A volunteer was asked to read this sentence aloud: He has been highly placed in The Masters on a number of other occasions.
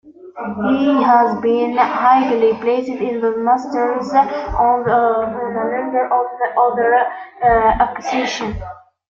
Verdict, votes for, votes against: rejected, 0, 2